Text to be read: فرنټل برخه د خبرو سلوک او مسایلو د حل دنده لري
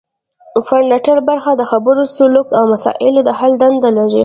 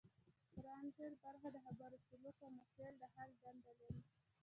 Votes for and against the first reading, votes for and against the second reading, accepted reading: 2, 0, 0, 2, first